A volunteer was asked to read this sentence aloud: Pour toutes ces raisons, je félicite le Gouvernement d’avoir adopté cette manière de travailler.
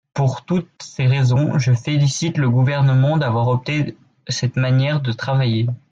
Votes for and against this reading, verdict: 0, 3, rejected